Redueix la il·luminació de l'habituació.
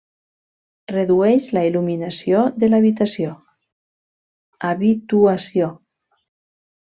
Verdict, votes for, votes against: rejected, 0, 2